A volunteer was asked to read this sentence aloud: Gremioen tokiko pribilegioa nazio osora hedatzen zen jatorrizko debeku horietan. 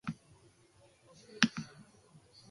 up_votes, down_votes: 0, 2